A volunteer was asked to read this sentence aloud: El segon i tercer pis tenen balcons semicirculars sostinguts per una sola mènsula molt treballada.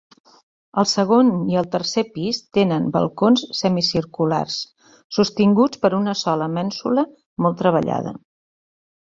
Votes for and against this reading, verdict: 0, 2, rejected